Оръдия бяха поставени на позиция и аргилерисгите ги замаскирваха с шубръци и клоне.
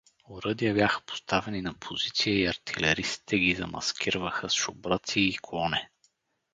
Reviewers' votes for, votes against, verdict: 0, 2, rejected